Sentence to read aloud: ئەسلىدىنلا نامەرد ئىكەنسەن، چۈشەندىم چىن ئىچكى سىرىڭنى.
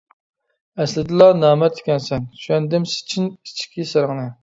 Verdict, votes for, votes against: rejected, 1, 2